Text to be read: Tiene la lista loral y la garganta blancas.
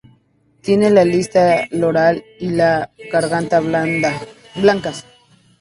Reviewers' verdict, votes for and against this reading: rejected, 0, 2